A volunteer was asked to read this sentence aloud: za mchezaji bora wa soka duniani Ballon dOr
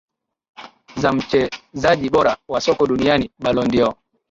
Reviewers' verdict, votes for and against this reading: accepted, 2, 0